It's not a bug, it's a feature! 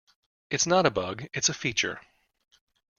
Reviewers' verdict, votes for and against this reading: accepted, 2, 0